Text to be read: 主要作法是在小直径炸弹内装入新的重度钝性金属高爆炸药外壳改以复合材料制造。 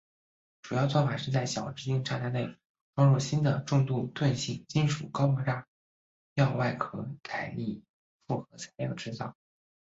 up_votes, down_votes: 1, 2